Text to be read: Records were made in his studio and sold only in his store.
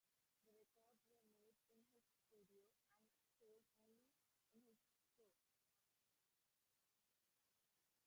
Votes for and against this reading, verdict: 0, 2, rejected